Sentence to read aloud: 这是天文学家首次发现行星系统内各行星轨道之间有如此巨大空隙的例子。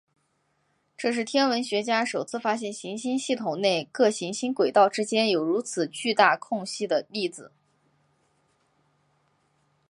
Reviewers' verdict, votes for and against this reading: accepted, 3, 2